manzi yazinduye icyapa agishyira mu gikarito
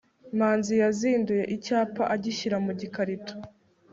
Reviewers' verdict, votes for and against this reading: accepted, 2, 0